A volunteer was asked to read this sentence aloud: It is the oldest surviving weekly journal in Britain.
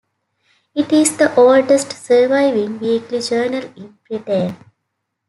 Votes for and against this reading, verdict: 2, 0, accepted